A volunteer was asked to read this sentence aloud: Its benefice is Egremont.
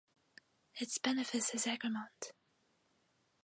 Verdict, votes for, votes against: accepted, 4, 0